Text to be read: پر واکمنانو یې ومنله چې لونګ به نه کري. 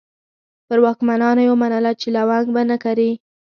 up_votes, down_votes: 2, 0